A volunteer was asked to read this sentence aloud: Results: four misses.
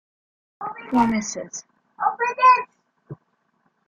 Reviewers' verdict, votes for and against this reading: rejected, 0, 2